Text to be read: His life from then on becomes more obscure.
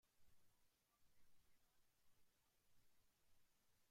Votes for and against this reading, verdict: 0, 2, rejected